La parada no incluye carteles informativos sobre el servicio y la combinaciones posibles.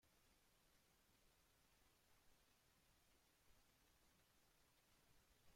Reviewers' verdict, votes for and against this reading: rejected, 0, 2